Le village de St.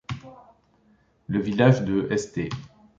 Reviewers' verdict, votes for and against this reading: rejected, 0, 2